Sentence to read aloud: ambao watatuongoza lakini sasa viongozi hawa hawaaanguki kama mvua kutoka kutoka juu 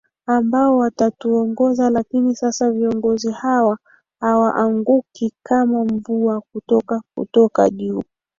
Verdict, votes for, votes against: accepted, 2, 1